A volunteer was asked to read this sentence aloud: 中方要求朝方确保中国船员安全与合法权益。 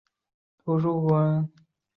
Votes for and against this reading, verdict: 1, 2, rejected